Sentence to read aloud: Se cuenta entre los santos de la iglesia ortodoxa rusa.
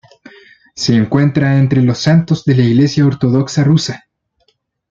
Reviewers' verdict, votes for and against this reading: accepted, 3, 0